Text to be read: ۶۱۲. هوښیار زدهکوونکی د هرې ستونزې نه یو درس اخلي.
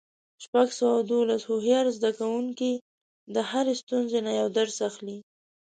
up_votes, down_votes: 0, 2